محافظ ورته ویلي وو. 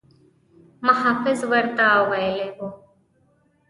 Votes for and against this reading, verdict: 2, 0, accepted